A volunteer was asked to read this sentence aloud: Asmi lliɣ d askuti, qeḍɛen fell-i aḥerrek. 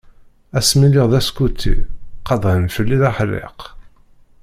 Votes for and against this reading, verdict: 0, 2, rejected